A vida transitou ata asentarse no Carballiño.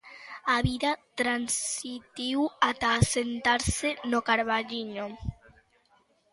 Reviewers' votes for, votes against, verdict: 0, 2, rejected